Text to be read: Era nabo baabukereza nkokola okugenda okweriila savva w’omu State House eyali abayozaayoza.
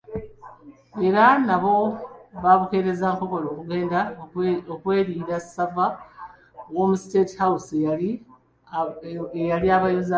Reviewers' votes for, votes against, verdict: 0, 2, rejected